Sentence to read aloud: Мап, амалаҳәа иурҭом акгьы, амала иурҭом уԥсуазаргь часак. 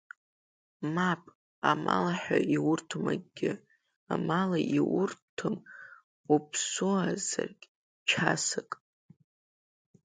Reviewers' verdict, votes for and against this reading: rejected, 1, 2